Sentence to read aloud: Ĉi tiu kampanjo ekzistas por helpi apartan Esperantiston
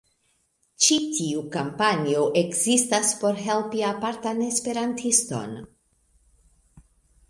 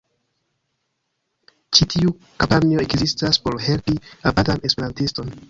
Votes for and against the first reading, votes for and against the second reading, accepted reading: 2, 1, 1, 2, first